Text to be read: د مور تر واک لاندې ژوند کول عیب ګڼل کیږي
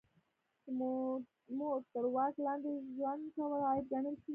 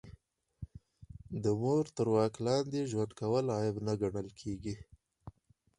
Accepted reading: second